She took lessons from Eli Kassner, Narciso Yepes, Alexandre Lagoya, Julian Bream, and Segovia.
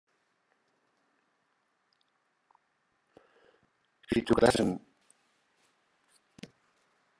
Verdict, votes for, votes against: rejected, 1, 2